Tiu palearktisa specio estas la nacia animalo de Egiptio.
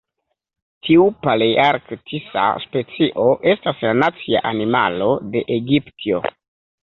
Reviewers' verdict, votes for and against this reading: accepted, 2, 0